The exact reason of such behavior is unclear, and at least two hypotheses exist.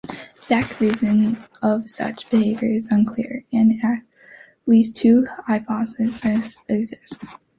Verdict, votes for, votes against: accepted, 2, 1